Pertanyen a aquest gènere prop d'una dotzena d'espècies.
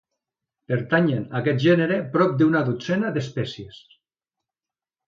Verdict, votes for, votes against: accepted, 2, 0